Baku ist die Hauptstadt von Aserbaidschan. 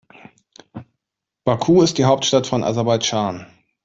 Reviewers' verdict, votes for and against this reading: accepted, 2, 0